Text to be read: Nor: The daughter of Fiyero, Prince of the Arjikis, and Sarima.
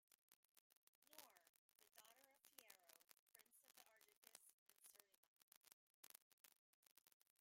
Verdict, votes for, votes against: rejected, 0, 2